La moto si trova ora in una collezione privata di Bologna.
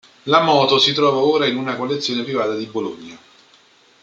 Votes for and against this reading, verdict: 2, 1, accepted